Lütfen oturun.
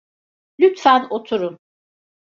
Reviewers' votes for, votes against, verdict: 2, 0, accepted